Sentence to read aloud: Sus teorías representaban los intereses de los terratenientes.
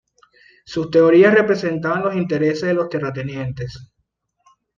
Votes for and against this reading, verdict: 2, 0, accepted